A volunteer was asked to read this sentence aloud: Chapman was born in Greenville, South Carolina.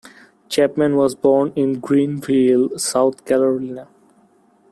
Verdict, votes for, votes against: rejected, 1, 2